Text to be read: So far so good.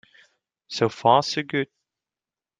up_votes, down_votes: 2, 0